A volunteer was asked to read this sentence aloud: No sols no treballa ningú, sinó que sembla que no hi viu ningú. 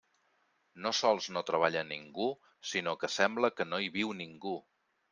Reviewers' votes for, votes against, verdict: 3, 0, accepted